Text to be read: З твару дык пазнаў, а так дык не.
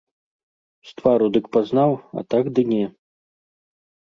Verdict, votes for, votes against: rejected, 1, 2